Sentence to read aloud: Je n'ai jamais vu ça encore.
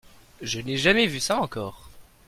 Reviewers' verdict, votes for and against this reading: accepted, 2, 0